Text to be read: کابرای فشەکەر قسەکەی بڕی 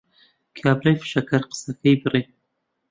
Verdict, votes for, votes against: accepted, 2, 0